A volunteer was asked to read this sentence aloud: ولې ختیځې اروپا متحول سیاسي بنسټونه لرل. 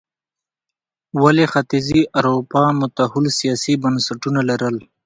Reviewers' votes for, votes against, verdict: 1, 2, rejected